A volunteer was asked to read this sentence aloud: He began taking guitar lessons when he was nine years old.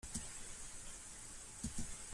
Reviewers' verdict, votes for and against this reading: rejected, 0, 2